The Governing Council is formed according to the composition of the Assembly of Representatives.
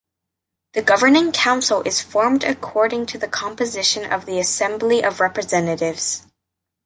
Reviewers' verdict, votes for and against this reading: accepted, 2, 0